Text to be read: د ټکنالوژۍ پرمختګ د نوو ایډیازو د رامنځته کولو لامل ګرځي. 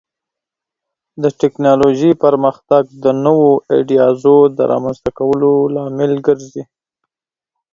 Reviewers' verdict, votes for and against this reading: accepted, 8, 0